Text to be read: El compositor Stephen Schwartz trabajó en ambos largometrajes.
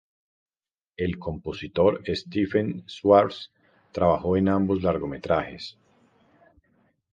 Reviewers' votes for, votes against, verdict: 2, 0, accepted